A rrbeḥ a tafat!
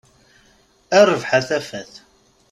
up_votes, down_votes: 2, 0